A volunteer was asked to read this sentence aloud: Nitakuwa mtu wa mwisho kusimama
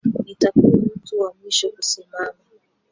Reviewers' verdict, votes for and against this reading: rejected, 0, 3